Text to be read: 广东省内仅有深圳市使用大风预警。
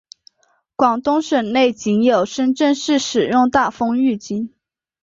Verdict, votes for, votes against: accepted, 3, 0